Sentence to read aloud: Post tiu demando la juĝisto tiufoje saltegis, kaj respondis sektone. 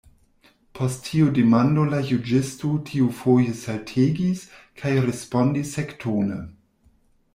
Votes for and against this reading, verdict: 0, 2, rejected